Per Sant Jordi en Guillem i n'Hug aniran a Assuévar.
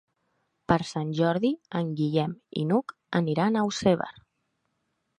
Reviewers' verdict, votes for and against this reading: rejected, 1, 2